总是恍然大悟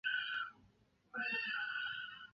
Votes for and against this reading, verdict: 0, 5, rejected